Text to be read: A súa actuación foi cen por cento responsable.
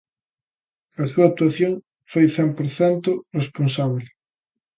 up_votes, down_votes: 2, 0